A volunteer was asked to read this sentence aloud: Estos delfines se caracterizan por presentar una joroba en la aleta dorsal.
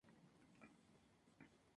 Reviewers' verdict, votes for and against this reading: rejected, 0, 2